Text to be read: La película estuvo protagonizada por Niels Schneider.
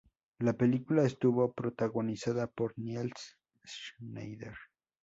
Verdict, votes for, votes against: rejected, 0, 2